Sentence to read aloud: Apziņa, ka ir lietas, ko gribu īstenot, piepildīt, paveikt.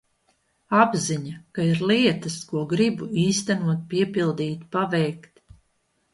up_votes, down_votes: 2, 0